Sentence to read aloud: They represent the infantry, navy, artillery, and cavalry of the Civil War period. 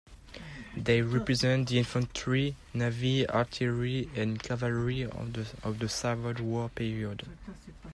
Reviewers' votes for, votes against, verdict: 0, 2, rejected